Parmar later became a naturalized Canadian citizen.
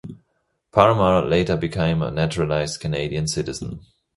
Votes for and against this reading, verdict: 2, 0, accepted